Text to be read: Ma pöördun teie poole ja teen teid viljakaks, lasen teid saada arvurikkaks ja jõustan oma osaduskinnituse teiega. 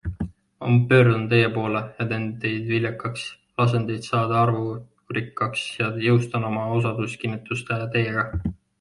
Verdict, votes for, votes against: rejected, 1, 2